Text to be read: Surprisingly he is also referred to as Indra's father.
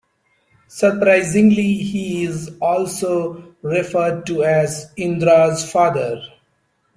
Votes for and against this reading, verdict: 2, 0, accepted